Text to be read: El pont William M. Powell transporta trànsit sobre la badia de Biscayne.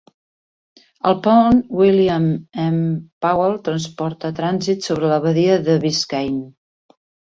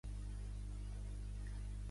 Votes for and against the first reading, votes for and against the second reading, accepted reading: 4, 1, 1, 2, first